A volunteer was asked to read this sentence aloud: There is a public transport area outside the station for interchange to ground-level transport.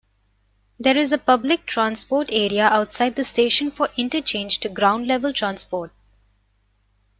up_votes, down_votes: 2, 0